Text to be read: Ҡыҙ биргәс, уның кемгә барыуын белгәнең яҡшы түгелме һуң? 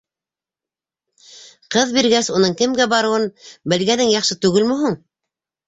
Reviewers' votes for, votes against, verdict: 2, 0, accepted